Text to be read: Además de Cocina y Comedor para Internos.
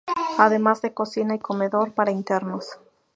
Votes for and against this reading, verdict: 0, 2, rejected